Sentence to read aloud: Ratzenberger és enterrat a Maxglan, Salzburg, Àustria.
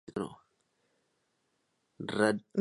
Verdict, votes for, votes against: rejected, 0, 2